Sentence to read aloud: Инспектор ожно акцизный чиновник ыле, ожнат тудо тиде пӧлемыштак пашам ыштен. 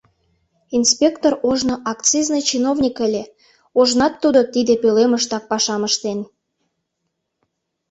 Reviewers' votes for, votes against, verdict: 2, 0, accepted